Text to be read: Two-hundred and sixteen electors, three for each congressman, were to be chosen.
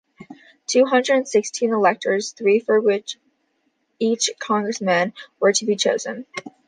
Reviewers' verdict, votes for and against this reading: rejected, 1, 2